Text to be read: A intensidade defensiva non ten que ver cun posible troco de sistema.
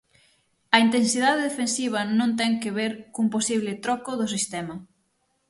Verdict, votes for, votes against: rejected, 0, 6